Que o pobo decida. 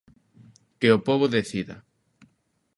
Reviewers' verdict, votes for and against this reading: accepted, 2, 0